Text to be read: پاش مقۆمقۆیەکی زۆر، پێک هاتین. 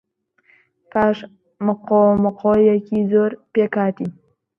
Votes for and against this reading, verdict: 2, 0, accepted